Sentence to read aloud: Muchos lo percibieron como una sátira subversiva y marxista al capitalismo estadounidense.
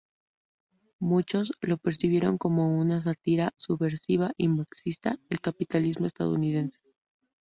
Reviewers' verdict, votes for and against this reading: rejected, 0, 2